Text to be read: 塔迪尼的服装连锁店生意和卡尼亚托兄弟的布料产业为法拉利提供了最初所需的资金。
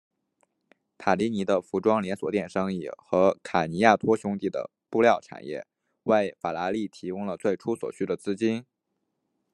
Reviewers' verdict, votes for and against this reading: accepted, 2, 0